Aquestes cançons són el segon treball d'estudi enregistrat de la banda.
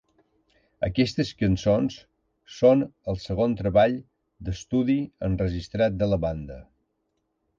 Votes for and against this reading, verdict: 3, 0, accepted